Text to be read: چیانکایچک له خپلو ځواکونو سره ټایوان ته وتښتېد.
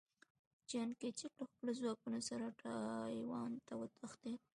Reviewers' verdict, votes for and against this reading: accepted, 2, 0